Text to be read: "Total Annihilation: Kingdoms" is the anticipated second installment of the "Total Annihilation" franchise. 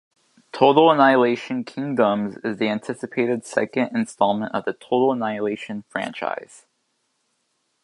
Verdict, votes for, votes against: accepted, 2, 0